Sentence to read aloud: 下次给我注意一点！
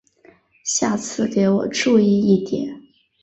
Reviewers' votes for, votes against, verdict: 1, 2, rejected